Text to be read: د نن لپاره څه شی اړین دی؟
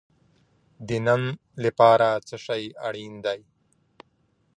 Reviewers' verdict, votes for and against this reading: accepted, 2, 1